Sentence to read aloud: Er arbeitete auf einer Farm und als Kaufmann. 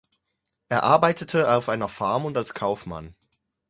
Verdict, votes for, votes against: accepted, 4, 0